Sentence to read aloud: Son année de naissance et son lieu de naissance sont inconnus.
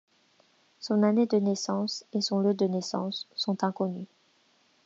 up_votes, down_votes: 2, 1